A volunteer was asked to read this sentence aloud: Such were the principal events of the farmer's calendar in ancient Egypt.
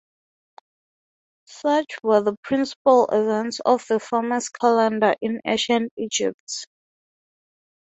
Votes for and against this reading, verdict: 3, 3, rejected